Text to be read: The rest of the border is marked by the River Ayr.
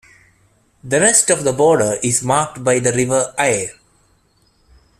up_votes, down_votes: 1, 2